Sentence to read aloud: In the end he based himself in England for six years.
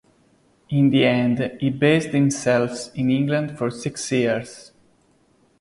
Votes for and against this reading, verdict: 0, 2, rejected